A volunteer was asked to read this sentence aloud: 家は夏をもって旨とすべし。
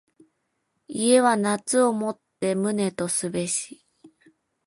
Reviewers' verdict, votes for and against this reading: accepted, 2, 0